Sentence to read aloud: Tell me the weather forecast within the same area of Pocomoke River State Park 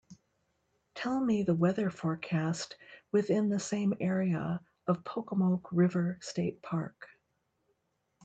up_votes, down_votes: 2, 0